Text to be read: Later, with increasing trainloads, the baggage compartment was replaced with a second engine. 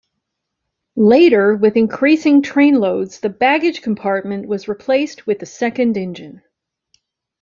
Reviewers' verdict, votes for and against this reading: accepted, 2, 0